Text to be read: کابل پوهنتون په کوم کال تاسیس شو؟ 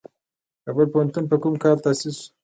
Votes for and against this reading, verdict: 2, 1, accepted